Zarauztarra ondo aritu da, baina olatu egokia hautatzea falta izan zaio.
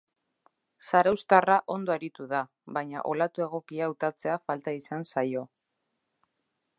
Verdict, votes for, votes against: accepted, 2, 0